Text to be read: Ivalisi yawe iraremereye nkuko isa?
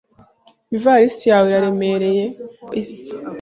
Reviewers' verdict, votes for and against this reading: rejected, 1, 2